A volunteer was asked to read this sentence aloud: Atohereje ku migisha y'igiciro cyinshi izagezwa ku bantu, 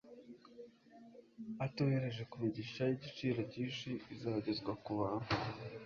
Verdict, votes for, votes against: accepted, 2, 0